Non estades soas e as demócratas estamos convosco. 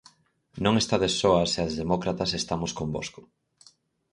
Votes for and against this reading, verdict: 4, 0, accepted